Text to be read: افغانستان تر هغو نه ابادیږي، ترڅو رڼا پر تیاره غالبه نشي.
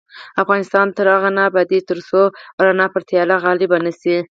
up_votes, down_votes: 0, 4